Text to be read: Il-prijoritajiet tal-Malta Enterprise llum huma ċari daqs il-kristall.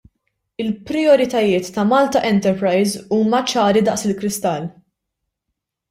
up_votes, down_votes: 0, 2